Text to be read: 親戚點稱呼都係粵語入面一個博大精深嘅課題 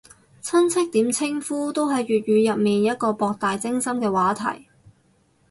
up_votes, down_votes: 0, 4